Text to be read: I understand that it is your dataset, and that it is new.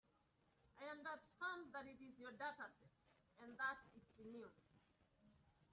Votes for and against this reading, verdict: 0, 3, rejected